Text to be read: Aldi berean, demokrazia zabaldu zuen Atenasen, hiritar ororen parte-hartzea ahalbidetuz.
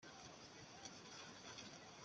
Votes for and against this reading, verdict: 0, 2, rejected